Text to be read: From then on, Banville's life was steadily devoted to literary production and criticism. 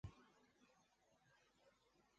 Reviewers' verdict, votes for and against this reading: rejected, 0, 2